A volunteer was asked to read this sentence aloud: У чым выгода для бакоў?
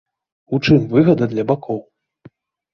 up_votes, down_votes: 1, 2